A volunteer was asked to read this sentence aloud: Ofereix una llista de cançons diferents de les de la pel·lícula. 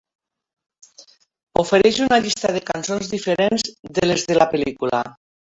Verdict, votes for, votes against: accepted, 2, 0